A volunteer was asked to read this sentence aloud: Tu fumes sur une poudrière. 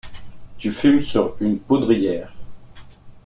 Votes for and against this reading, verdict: 2, 0, accepted